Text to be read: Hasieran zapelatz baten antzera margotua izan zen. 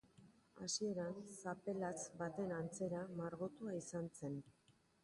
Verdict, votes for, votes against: rejected, 0, 2